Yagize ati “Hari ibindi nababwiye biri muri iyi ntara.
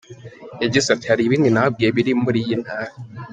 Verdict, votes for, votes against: accepted, 2, 0